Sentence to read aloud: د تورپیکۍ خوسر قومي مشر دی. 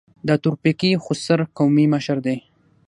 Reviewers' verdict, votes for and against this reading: rejected, 3, 3